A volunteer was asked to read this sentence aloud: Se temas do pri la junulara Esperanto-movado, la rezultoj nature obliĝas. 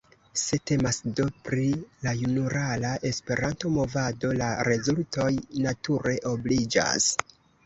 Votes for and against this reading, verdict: 0, 2, rejected